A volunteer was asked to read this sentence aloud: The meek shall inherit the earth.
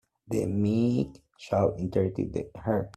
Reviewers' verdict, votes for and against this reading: rejected, 0, 2